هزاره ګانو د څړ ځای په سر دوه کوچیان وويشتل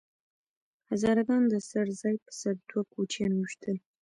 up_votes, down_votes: 1, 2